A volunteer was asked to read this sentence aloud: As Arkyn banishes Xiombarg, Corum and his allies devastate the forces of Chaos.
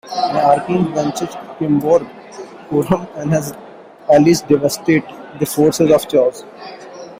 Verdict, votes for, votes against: rejected, 0, 2